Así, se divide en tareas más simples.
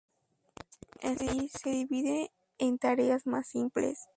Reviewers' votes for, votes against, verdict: 2, 0, accepted